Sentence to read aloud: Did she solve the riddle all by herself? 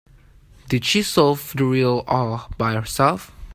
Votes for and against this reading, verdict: 1, 2, rejected